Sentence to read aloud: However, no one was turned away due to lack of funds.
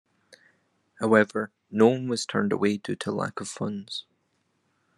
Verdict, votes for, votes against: rejected, 0, 2